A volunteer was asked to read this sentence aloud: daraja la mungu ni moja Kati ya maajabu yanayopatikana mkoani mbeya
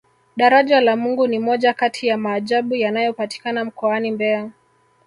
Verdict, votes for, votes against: rejected, 0, 2